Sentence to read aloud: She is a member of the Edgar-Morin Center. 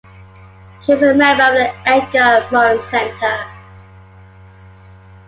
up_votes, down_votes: 0, 2